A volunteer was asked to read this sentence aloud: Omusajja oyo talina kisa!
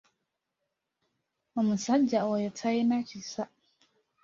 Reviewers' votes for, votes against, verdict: 2, 0, accepted